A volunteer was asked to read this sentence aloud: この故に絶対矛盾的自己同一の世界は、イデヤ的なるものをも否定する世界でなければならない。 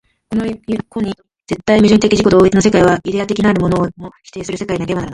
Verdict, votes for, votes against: accepted, 2, 0